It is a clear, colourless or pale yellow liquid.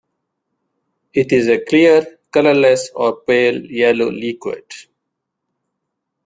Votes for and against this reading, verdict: 2, 0, accepted